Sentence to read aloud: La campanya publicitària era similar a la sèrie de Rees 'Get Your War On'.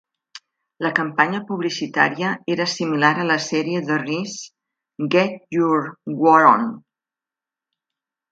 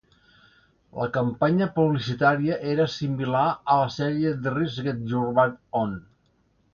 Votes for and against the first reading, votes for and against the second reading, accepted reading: 2, 1, 1, 2, first